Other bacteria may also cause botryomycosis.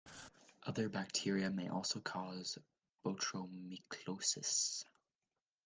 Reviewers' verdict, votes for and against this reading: accepted, 2, 1